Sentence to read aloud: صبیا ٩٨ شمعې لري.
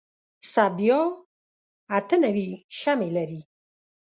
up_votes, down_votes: 0, 2